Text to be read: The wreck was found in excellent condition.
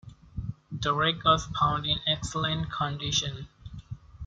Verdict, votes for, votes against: accepted, 2, 1